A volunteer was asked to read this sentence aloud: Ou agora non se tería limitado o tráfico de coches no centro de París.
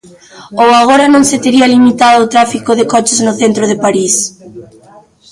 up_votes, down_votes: 0, 2